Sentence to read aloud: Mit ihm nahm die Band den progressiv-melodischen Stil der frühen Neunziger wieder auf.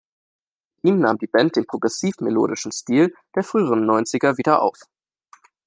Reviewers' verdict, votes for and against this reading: rejected, 1, 2